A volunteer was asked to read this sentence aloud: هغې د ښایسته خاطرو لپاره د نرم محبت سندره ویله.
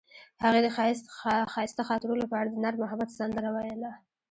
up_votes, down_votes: 1, 2